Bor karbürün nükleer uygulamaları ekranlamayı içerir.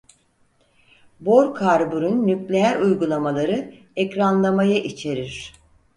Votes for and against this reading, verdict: 4, 0, accepted